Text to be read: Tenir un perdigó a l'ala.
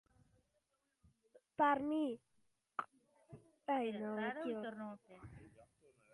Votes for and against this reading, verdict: 0, 2, rejected